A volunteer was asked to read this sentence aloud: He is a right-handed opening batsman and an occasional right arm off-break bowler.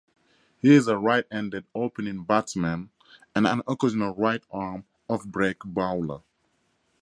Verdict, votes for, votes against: accepted, 4, 0